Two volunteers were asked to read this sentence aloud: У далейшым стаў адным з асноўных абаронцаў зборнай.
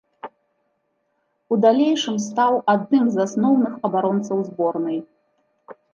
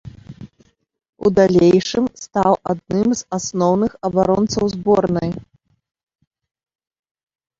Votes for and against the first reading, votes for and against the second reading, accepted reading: 2, 0, 2, 3, first